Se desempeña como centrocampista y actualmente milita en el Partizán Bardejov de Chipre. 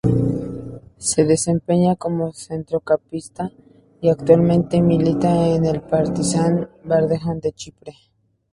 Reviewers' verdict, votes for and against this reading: rejected, 0, 2